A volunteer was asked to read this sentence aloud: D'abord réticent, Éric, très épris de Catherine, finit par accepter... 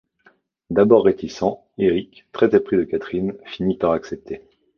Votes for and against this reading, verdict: 2, 0, accepted